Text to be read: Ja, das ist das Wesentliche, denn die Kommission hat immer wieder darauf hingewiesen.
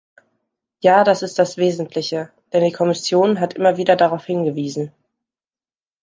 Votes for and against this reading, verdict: 2, 0, accepted